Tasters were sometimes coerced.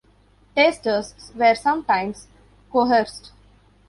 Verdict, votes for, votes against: rejected, 1, 2